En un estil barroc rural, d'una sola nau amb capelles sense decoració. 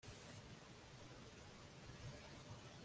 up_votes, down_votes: 0, 2